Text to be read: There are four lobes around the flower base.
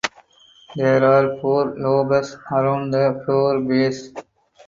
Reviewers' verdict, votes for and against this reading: rejected, 0, 4